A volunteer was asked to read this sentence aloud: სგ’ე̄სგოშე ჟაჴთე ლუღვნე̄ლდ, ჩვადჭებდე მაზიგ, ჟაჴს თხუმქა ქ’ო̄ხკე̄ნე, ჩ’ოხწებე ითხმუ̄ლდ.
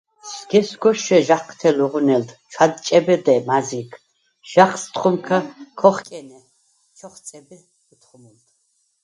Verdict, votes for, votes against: rejected, 0, 4